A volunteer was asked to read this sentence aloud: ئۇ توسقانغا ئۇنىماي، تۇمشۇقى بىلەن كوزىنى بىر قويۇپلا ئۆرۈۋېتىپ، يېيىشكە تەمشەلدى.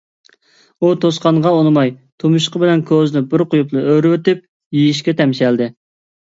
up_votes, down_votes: 2, 0